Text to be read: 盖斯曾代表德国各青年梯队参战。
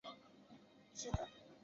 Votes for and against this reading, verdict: 0, 2, rejected